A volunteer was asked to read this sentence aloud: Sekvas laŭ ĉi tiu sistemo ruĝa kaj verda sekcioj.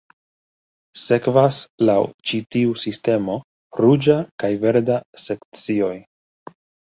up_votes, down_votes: 3, 0